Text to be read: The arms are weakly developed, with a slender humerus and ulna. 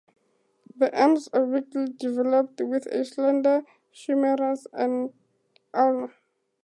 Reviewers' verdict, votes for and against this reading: rejected, 2, 2